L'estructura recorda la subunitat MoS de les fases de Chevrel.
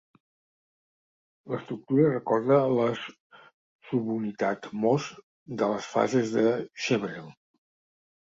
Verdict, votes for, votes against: rejected, 0, 2